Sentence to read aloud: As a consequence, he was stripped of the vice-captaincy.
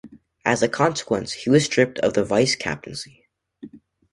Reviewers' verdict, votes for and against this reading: accepted, 3, 0